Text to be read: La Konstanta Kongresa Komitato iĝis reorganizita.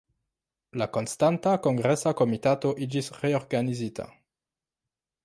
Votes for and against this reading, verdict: 2, 0, accepted